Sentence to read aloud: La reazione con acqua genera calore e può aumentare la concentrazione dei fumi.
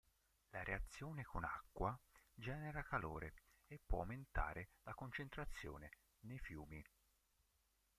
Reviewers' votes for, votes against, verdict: 1, 3, rejected